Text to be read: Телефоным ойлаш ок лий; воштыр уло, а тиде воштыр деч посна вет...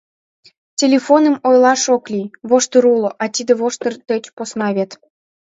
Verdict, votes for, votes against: accepted, 2, 0